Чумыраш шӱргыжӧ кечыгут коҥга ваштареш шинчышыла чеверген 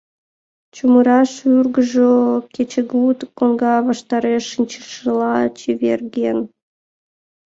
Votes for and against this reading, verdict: 0, 2, rejected